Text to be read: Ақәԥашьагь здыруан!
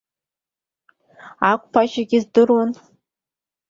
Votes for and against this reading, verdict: 2, 1, accepted